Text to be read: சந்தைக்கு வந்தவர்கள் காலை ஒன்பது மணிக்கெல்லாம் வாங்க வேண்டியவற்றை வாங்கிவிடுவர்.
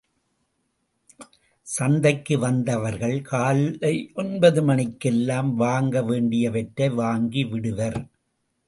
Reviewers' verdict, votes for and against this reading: accepted, 2, 0